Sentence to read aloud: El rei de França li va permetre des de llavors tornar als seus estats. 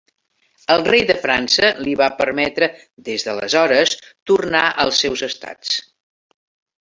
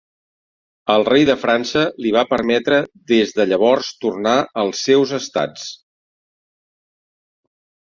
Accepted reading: second